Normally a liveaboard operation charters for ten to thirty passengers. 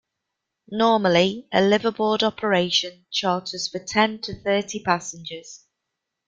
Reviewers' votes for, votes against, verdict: 0, 2, rejected